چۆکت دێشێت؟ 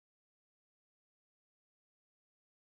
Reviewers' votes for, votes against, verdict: 0, 2, rejected